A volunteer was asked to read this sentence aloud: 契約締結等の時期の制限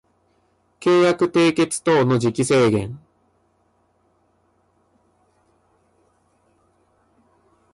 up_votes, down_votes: 1, 2